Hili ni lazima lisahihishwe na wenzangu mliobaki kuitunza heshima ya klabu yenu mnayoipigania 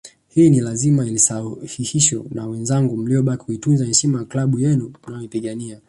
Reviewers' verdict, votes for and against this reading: accepted, 2, 0